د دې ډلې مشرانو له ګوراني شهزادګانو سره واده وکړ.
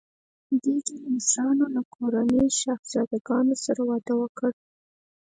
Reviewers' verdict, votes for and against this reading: accepted, 4, 0